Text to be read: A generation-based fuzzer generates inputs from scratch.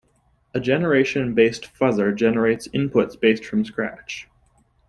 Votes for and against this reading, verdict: 0, 2, rejected